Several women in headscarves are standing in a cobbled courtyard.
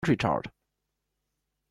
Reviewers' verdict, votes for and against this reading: rejected, 0, 2